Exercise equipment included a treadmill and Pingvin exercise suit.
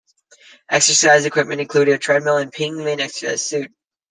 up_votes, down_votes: 2, 1